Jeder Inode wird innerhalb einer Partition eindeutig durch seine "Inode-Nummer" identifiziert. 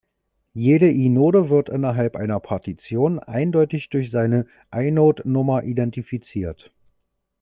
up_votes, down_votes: 1, 2